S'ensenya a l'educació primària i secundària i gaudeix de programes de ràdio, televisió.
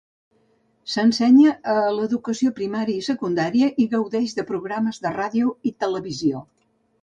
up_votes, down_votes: 0, 2